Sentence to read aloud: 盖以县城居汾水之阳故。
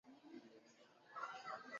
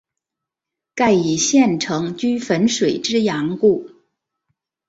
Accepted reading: second